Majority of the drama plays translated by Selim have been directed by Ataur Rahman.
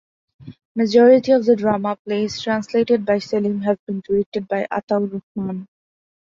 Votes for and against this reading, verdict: 2, 0, accepted